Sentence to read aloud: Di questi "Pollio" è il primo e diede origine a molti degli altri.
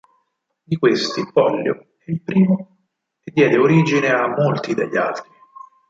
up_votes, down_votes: 2, 4